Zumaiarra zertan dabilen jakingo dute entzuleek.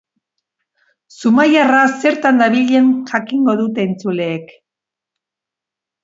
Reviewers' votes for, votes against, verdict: 2, 1, accepted